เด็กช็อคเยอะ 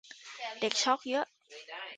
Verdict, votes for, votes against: rejected, 1, 2